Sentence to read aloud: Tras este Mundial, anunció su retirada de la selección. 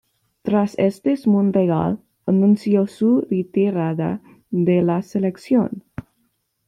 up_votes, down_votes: 1, 2